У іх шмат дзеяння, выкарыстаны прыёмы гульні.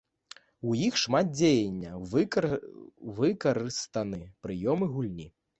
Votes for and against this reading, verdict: 1, 4, rejected